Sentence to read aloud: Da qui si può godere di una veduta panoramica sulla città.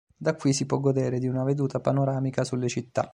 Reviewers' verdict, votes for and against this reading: rejected, 0, 2